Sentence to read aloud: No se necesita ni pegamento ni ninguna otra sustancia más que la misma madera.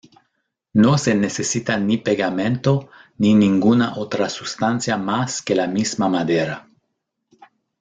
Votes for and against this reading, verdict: 1, 2, rejected